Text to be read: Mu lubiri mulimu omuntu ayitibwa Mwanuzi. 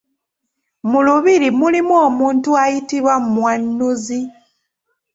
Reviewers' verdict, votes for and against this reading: rejected, 0, 2